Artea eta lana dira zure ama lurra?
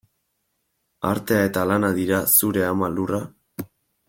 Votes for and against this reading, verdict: 2, 0, accepted